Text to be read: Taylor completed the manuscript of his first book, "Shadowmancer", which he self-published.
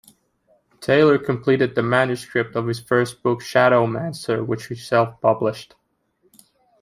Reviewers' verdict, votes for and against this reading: accepted, 2, 0